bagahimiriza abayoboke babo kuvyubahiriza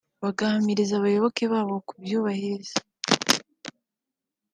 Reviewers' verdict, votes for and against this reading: rejected, 1, 2